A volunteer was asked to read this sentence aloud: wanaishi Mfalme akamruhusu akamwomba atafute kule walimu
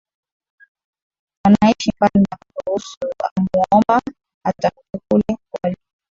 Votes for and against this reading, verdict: 0, 2, rejected